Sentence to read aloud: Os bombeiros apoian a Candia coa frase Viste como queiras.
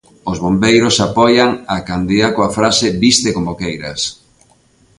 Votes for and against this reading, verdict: 2, 0, accepted